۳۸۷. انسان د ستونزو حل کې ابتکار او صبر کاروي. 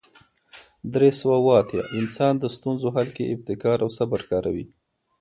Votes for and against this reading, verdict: 0, 2, rejected